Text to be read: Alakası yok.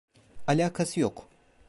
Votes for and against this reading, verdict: 2, 0, accepted